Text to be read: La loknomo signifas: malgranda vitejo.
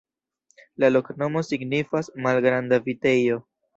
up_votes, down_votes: 2, 0